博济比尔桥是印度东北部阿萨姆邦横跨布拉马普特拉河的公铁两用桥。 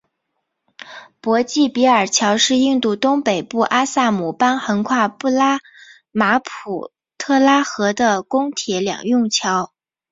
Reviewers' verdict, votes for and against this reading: accepted, 5, 0